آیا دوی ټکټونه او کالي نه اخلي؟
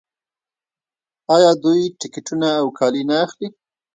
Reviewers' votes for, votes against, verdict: 0, 2, rejected